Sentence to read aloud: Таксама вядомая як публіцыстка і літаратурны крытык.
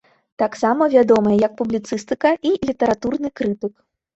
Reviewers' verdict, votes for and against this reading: rejected, 1, 2